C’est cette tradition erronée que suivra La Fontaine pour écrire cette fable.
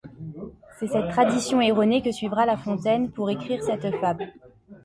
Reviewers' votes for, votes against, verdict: 2, 0, accepted